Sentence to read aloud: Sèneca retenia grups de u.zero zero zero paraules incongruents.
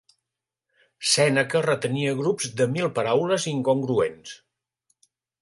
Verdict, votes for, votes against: rejected, 1, 2